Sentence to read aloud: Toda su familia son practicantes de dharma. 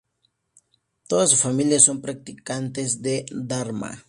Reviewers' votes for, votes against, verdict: 2, 0, accepted